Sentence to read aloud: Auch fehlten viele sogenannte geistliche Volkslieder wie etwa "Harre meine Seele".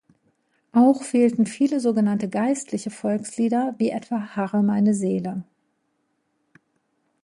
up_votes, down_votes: 2, 0